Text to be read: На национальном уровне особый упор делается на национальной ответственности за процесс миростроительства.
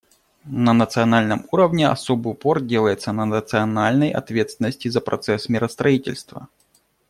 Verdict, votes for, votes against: accepted, 2, 0